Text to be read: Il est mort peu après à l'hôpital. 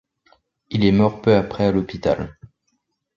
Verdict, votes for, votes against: accepted, 2, 0